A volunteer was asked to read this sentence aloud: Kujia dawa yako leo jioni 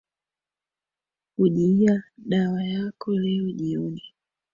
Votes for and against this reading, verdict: 6, 2, accepted